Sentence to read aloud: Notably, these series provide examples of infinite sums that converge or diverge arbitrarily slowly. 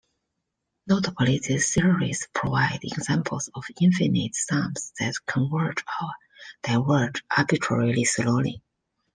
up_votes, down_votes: 0, 2